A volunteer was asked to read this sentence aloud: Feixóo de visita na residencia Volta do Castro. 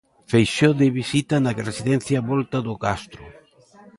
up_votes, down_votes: 1, 2